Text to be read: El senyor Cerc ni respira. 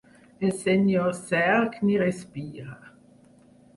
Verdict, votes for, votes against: rejected, 2, 4